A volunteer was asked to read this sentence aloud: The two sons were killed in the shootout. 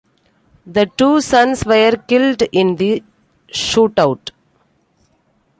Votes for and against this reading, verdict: 2, 1, accepted